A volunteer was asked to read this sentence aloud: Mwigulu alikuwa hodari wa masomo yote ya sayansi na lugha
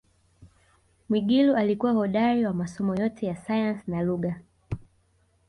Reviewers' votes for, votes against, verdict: 2, 1, accepted